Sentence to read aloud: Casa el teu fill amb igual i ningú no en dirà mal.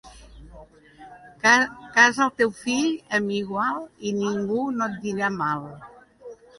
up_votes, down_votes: 0, 2